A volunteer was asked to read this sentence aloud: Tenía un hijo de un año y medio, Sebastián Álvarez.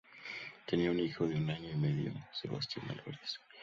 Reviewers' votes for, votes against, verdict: 2, 2, rejected